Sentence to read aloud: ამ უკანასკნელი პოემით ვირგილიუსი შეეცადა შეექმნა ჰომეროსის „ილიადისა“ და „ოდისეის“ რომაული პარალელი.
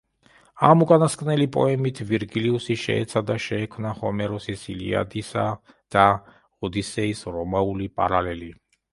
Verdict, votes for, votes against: accepted, 2, 0